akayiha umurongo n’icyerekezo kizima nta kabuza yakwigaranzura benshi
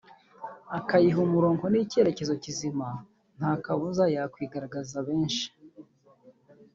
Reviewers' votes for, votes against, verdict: 0, 2, rejected